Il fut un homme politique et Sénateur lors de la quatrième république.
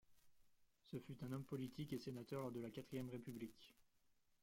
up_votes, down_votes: 1, 2